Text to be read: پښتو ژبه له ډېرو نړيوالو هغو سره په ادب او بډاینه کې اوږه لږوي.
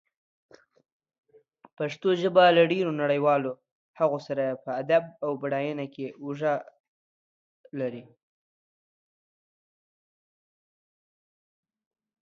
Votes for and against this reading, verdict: 1, 2, rejected